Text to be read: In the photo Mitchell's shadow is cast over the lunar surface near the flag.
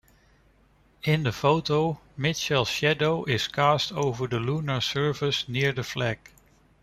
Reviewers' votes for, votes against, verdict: 2, 0, accepted